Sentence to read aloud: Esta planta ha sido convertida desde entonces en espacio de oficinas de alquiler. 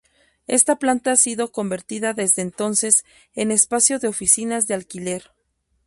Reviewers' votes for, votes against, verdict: 0, 2, rejected